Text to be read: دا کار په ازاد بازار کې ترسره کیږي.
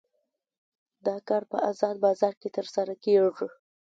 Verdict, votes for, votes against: accepted, 2, 0